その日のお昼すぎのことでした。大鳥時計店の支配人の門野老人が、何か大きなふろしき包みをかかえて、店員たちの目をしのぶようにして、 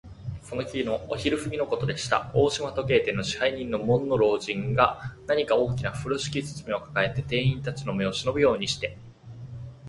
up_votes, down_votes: 2, 0